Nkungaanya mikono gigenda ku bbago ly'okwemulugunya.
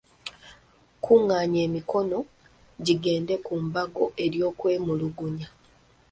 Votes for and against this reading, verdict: 0, 2, rejected